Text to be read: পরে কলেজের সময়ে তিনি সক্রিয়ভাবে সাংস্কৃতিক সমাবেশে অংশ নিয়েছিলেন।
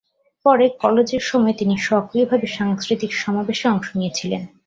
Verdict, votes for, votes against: accepted, 2, 0